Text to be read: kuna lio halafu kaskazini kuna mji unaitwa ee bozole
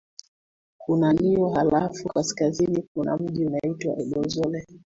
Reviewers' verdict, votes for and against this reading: accepted, 2, 1